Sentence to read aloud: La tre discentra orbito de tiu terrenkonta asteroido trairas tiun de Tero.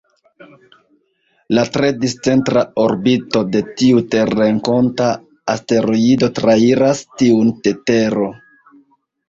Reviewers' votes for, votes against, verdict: 1, 2, rejected